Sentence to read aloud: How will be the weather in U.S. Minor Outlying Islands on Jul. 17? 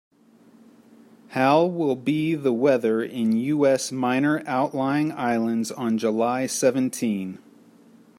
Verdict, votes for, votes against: rejected, 0, 2